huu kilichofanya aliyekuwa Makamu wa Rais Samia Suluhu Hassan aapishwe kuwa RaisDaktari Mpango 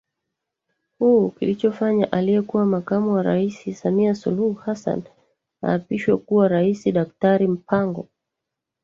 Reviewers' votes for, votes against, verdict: 2, 1, accepted